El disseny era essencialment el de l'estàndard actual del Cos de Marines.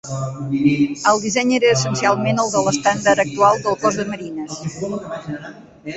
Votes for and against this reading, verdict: 2, 0, accepted